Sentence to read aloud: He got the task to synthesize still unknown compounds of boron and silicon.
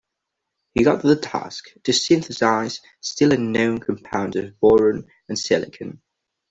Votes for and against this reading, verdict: 2, 0, accepted